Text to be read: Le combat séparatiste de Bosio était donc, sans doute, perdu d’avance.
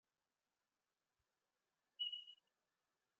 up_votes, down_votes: 0, 2